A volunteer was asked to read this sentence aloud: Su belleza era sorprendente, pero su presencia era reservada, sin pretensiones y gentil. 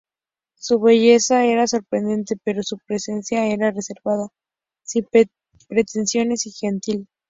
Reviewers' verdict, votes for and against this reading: accepted, 2, 0